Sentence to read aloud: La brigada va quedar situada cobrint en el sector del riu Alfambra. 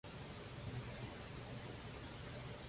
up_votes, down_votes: 0, 2